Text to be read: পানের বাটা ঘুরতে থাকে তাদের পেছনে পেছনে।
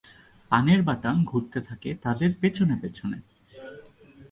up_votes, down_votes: 2, 0